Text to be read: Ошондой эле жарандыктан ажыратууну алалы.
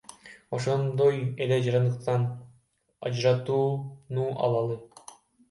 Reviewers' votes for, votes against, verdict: 0, 2, rejected